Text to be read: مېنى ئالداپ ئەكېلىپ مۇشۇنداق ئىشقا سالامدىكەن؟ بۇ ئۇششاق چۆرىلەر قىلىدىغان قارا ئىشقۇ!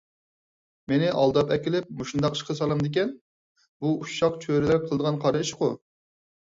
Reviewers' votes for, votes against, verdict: 4, 0, accepted